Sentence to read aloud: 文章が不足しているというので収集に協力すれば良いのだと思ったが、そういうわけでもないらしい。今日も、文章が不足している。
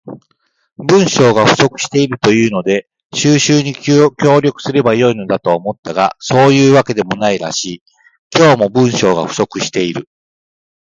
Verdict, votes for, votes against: accepted, 2, 0